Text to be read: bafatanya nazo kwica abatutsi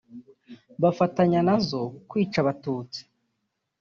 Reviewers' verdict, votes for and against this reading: rejected, 1, 2